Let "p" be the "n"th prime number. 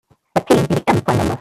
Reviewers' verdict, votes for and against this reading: rejected, 0, 2